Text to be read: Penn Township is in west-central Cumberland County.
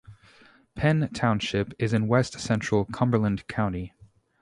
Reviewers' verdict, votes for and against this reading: accepted, 2, 0